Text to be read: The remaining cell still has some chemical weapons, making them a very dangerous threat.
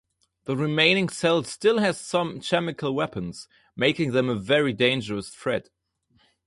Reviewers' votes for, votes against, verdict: 2, 0, accepted